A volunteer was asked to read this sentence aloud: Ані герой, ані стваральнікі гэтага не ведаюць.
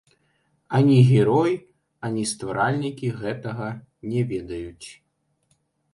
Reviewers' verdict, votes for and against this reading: rejected, 0, 2